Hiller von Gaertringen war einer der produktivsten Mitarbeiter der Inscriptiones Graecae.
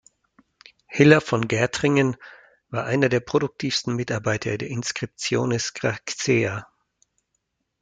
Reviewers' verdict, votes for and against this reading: rejected, 1, 2